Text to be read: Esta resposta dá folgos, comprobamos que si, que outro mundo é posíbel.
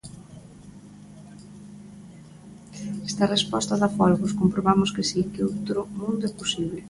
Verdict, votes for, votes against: accepted, 2, 1